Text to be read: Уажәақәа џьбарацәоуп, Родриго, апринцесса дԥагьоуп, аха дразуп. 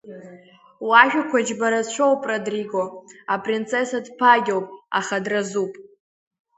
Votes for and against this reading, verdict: 3, 0, accepted